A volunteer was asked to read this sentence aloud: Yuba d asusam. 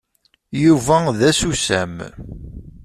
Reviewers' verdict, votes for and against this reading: accepted, 2, 0